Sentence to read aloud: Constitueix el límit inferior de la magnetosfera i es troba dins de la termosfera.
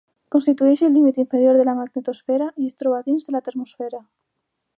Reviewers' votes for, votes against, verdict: 2, 1, accepted